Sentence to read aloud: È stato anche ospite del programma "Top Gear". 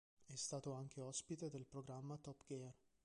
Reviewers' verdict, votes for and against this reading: rejected, 0, 2